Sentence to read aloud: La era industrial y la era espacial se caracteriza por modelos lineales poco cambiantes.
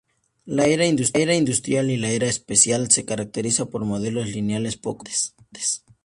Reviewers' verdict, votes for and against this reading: rejected, 0, 2